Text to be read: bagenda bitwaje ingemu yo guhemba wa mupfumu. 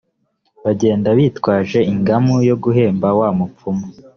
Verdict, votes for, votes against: rejected, 1, 2